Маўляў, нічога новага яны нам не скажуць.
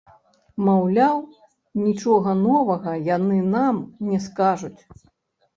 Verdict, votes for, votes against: rejected, 1, 2